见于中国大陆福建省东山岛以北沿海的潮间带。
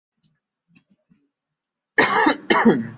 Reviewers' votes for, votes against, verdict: 1, 3, rejected